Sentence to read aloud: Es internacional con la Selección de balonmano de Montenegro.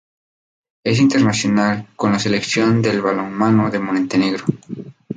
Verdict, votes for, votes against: rejected, 0, 2